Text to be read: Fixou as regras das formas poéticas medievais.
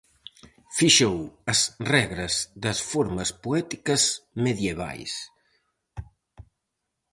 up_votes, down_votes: 4, 0